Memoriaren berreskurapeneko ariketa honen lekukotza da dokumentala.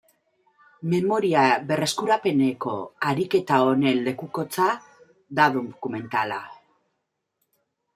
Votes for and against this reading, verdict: 0, 2, rejected